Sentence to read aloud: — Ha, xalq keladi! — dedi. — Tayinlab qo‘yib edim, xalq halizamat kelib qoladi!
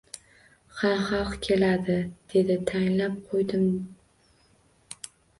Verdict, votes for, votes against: rejected, 0, 2